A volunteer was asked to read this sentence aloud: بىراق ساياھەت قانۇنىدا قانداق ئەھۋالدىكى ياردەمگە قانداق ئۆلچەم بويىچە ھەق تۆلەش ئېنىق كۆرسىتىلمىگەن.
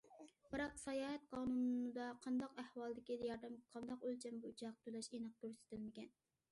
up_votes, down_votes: 2, 1